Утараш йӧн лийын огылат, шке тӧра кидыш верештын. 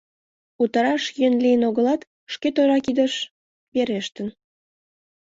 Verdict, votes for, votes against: accepted, 2, 0